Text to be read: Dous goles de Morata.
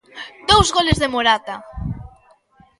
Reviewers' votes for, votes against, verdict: 3, 0, accepted